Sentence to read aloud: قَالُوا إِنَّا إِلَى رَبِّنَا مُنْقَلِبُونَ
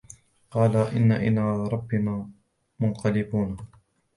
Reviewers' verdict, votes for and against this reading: rejected, 1, 2